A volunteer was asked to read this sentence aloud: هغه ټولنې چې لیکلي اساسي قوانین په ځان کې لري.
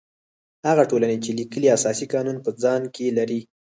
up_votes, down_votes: 2, 4